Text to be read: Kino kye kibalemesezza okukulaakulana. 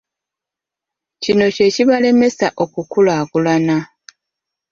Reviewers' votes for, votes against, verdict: 0, 2, rejected